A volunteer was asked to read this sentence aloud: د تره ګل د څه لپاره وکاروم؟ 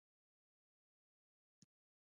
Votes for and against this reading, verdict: 2, 0, accepted